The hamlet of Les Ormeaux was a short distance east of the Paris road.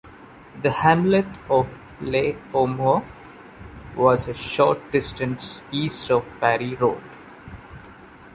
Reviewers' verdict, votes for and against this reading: rejected, 0, 2